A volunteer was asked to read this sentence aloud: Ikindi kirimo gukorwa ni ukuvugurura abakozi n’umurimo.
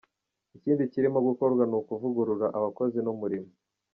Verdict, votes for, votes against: rejected, 1, 2